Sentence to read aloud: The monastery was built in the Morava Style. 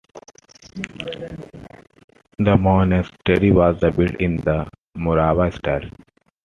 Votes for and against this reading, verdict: 2, 1, accepted